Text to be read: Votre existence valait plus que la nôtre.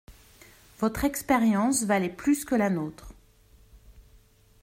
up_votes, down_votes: 0, 2